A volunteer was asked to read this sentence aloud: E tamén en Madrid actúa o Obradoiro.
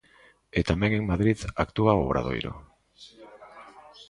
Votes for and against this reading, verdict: 2, 0, accepted